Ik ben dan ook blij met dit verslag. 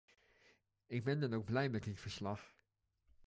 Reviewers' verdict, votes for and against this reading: accepted, 2, 0